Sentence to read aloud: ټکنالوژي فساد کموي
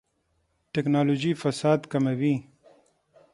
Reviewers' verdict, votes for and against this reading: rejected, 3, 6